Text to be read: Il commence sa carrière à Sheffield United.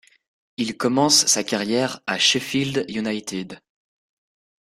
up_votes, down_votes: 2, 0